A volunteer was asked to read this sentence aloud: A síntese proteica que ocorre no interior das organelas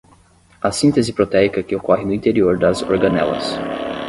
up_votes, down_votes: 5, 5